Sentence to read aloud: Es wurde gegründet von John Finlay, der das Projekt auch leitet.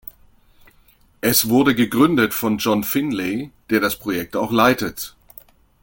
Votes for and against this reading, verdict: 2, 0, accepted